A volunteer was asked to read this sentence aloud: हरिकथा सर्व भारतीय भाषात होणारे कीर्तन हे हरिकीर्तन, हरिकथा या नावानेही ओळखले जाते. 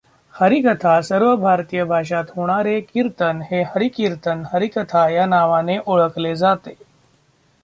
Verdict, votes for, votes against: rejected, 0, 2